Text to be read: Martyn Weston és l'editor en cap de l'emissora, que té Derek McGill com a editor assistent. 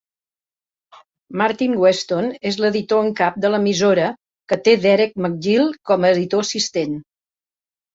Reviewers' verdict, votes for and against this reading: accepted, 3, 0